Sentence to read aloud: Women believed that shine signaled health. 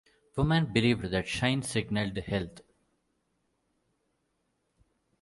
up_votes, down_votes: 1, 2